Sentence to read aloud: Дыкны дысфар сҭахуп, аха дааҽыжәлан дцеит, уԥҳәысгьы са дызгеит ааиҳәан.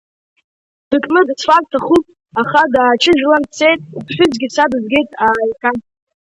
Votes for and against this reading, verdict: 0, 5, rejected